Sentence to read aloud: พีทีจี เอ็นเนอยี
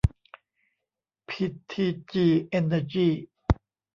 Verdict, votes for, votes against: rejected, 1, 2